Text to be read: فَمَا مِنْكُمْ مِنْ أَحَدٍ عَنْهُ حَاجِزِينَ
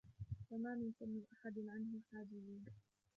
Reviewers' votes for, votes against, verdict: 0, 3, rejected